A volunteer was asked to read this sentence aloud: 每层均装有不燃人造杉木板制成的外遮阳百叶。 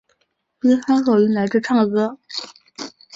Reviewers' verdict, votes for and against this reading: rejected, 0, 2